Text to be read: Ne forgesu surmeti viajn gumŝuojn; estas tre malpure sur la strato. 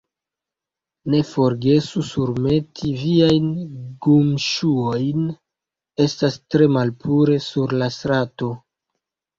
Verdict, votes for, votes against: rejected, 1, 2